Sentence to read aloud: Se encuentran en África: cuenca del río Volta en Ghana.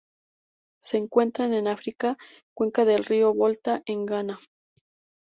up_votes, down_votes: 2, 0